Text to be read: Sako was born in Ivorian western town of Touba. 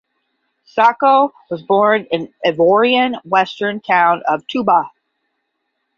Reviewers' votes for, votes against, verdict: 5, 10, rejected